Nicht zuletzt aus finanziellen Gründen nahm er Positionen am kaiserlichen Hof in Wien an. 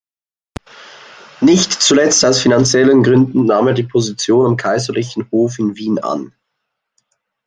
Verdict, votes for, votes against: rejected, 1, 2